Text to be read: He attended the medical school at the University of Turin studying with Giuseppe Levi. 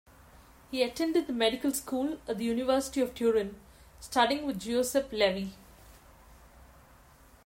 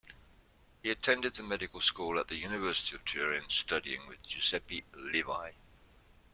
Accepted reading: second